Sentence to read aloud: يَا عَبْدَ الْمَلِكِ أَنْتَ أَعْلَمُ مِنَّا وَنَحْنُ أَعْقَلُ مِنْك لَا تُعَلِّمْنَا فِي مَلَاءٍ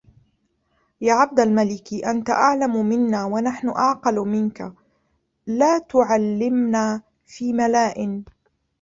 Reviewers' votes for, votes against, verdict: 0, 2, rejected